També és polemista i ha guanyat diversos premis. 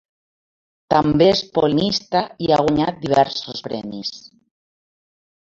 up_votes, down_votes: 0, 2